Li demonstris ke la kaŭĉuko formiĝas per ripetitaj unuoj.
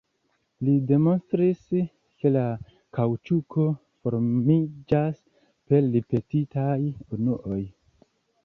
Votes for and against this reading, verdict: 1, 2, rejected